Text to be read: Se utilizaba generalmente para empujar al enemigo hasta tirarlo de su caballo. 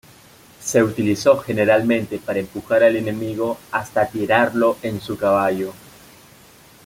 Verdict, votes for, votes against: rejected, 0, 2